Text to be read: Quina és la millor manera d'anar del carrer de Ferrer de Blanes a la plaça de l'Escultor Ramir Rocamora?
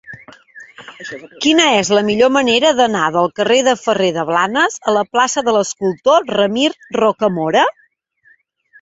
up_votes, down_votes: 3, 0